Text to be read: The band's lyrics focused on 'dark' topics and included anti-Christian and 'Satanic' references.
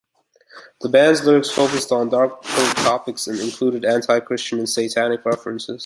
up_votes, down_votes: 0, 2